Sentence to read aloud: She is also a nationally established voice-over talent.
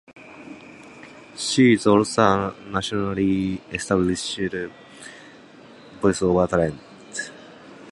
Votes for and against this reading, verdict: 1, 2, rejected